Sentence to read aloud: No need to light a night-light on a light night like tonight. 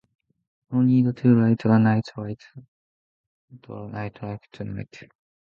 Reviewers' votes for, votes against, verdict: 0, 2, rejected